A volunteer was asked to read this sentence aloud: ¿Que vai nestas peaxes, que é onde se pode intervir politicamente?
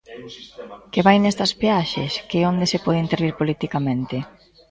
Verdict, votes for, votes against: rejected, 0, 2